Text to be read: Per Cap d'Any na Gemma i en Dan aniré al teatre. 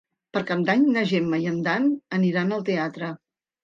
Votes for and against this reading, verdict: 1, 2, rejected